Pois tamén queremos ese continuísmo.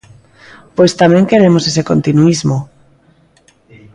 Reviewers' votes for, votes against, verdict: 2, 0, accepted